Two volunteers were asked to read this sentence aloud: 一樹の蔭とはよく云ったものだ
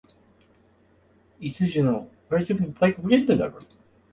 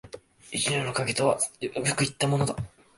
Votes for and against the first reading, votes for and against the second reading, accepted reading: 1, 2, 2, 0, second